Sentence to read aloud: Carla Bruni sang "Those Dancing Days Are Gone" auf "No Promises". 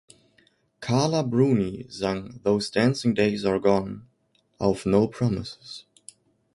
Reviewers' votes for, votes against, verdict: 3, 0, accepted